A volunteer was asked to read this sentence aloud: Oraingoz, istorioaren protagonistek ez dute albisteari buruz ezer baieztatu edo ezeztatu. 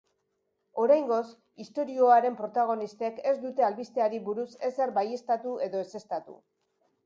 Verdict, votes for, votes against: accepted, 2, 0